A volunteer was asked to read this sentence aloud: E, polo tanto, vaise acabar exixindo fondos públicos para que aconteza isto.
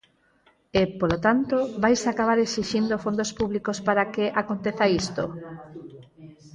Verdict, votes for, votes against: accepted, 4, 0